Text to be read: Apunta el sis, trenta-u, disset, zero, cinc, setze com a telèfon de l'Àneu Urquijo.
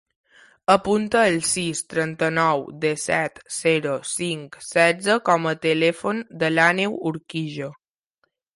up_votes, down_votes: 0, 2